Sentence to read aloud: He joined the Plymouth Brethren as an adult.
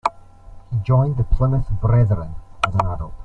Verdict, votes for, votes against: accepted, 2, 1